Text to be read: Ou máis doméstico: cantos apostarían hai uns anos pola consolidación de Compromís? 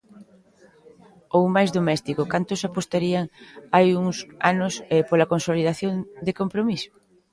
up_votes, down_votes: 0, 2